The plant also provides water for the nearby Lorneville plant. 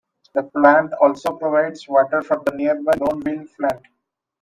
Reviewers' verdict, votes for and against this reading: rejected, 0, 2